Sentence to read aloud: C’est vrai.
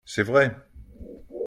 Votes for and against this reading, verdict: 2, 0, accepted